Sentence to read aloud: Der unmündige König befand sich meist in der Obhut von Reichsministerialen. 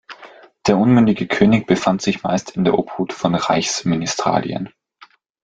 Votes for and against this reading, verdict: 2, 1, accepted